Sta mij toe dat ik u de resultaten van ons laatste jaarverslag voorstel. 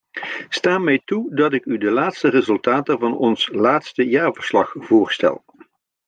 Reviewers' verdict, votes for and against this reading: rejected, 0, 2